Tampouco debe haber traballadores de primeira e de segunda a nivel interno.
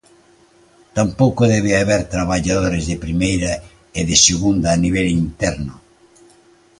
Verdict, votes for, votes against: accepted, 2, 0